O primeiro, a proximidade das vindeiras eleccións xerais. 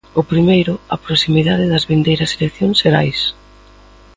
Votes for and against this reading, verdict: 3, 0, accepted